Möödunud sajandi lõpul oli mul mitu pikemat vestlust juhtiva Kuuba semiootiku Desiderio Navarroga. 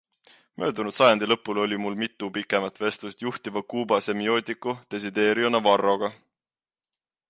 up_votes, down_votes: 2, 0